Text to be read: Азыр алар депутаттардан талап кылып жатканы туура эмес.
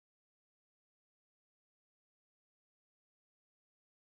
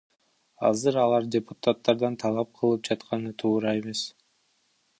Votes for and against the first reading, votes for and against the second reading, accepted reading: 0, 2, 2, 1, second